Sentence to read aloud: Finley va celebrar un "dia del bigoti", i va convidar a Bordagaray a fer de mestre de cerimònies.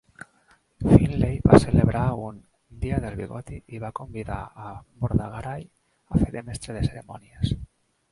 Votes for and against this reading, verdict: 1, 2, rejected